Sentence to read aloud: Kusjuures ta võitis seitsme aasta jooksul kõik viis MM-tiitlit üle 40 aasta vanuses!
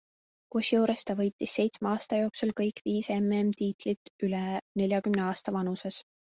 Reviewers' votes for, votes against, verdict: 0, 2, rejected